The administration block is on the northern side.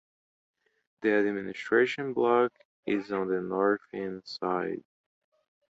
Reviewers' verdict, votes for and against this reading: accepted, 2, 0